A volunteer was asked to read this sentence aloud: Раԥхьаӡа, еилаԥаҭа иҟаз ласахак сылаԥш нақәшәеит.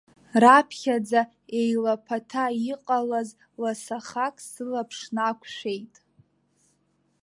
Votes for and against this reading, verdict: 0, 2, rejected